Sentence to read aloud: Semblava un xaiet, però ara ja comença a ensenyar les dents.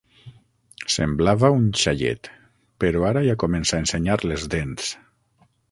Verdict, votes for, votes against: accepted, 6, 0